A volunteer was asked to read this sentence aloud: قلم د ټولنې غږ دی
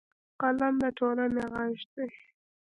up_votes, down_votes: 1, 2